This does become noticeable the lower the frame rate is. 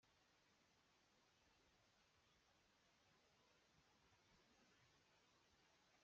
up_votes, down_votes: 0, 2